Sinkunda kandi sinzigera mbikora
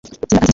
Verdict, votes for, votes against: rejected, 0, 2